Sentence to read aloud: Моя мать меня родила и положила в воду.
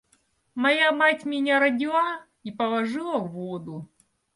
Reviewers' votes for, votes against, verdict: 2, 0, accepted